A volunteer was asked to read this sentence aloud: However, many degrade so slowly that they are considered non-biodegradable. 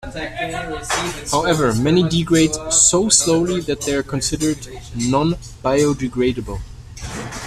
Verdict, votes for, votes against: accepted, 2, 0